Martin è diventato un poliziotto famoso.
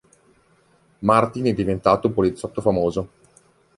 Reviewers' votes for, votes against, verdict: 3, 0, accepted